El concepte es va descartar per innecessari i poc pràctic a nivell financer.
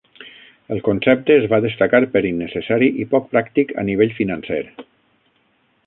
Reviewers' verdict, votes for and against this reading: rejected, 0, 6